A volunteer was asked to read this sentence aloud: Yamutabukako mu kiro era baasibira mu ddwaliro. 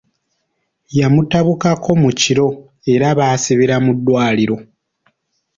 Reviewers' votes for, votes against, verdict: 2, 1, accepted